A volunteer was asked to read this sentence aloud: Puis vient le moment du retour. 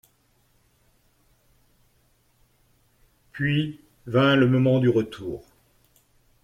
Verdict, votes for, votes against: rejected, 0, 2